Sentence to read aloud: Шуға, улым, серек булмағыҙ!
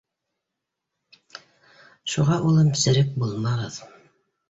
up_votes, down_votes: 2, 0